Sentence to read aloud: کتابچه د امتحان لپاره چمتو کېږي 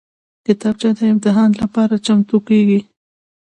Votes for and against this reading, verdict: 2, 0, accepted